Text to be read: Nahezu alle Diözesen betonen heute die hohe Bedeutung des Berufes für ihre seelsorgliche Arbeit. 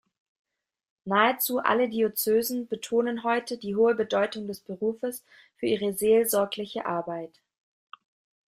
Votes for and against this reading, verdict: 0, 2, rejected